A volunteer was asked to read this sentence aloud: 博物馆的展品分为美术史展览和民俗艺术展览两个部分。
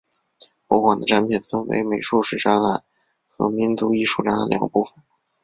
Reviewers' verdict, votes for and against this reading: accepted, 4, 0